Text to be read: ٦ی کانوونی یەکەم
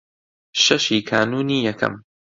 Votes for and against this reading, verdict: 0, 2, rejected